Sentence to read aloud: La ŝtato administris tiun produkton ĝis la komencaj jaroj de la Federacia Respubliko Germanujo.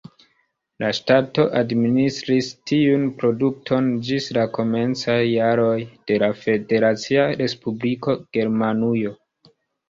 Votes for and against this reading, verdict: 2, 0, accepted